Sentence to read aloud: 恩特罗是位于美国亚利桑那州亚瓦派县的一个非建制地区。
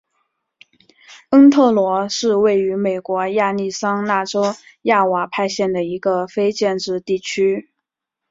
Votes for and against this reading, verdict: 2, 1, accepted